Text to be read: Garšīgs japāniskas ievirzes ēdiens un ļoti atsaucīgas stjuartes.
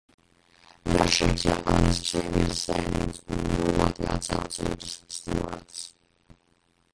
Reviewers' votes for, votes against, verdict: 0, 2, rejected